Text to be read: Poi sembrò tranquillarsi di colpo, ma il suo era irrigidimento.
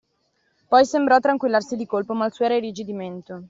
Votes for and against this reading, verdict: 2, 0, accepted